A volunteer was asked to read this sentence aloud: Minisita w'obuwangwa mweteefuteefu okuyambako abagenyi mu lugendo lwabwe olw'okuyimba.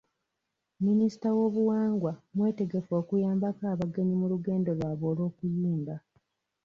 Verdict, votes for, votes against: rejected, 1, 2